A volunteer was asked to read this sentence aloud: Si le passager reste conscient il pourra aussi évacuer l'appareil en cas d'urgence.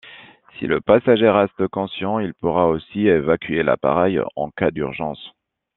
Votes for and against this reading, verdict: 1, 2, rejected